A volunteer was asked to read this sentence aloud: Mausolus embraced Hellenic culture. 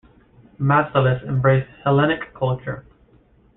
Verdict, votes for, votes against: rejected, 0, 2